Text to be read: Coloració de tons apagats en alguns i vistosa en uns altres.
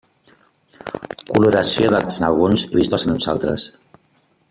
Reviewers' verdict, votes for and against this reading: rejected, 0, 2